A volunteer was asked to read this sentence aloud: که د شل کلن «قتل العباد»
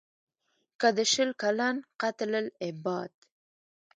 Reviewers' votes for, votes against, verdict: 2, 0, accepted